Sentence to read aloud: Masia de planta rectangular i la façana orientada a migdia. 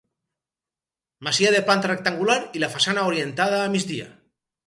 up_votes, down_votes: 2, 2